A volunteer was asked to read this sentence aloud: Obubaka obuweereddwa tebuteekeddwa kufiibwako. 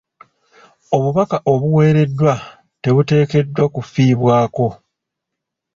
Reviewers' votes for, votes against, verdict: 2, 0, accepted